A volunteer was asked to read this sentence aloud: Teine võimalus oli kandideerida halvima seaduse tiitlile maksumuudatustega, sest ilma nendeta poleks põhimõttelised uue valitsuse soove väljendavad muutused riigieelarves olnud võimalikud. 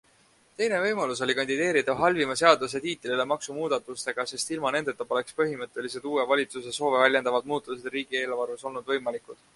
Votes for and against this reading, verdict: 4, 0, accepted